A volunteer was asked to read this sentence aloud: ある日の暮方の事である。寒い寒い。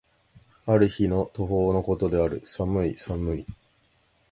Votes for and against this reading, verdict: 2, 0, accepted